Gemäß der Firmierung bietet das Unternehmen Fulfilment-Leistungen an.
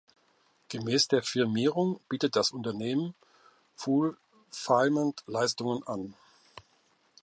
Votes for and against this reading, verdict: 0, 2, rejected